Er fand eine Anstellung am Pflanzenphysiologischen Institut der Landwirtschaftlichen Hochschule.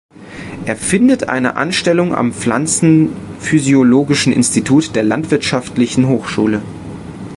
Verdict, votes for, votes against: rejected, 0, 2